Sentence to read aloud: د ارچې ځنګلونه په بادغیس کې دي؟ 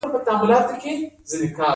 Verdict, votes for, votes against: accepted, 2, 0